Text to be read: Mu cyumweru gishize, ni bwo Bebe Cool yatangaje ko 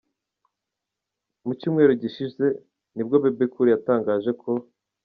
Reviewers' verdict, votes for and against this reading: accepted, 2, 0